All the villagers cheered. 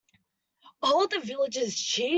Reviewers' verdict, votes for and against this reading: rejected, 0, 2